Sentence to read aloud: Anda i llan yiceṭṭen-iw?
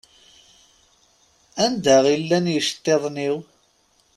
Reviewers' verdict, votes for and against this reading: rejected, 0, 2